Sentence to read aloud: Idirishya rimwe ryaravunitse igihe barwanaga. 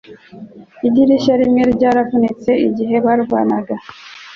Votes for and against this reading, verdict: 2, 0, accepted